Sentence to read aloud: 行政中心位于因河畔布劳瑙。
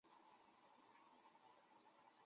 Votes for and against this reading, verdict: 1, 3, rejected